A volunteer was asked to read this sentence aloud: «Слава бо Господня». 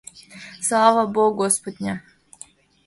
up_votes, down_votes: 2, 0